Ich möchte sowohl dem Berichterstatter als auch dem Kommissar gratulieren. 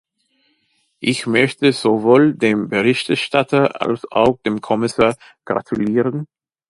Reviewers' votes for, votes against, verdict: 2, 0, accepted